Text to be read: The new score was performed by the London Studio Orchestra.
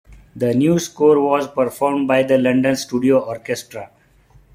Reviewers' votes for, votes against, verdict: 2, 0, accepted